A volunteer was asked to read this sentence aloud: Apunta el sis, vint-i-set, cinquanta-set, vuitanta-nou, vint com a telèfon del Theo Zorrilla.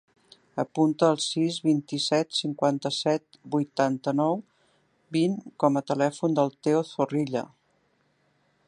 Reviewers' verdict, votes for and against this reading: accepted, 3, 0